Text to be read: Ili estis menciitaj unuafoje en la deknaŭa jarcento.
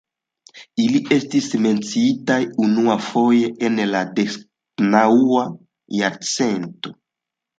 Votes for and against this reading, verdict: 3, 1, accepted